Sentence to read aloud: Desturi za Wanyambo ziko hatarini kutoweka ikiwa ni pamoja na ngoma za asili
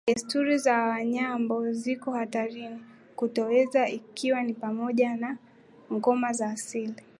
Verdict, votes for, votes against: accepted, 2, 1